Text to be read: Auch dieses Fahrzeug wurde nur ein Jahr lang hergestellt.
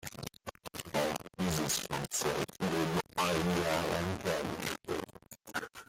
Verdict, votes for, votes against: rejected, 0, 2